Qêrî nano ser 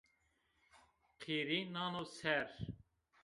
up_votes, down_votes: 1, 2